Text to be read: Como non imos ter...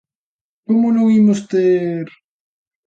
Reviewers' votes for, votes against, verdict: 2, 0, accepted